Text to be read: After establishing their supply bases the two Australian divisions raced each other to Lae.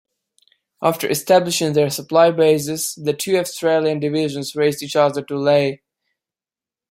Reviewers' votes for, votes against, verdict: 2, 0, accepted